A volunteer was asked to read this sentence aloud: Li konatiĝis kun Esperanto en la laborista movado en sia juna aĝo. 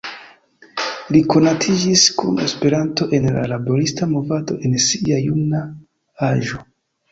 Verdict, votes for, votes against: accepted, 2, 0